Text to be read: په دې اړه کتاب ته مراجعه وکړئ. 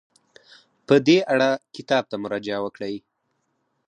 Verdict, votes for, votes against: accepted, 4, 2